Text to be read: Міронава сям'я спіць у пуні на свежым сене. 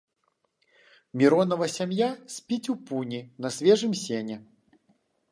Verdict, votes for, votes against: accepted, 2, 0